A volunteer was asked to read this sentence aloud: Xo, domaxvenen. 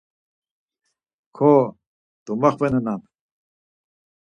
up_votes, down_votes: 2, 4